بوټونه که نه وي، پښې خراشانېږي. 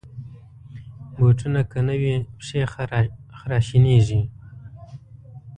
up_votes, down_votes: 2, 0